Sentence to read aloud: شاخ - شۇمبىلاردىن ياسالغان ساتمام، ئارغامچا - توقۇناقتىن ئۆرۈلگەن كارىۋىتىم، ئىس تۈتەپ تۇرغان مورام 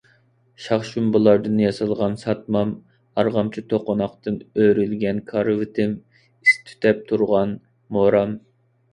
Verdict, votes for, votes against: accepted, 2, 0